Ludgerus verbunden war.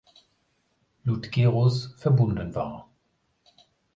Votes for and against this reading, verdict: 2, 0, accepted